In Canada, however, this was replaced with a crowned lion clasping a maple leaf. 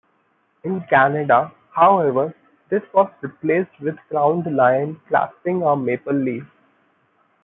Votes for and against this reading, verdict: 1, 2, rejected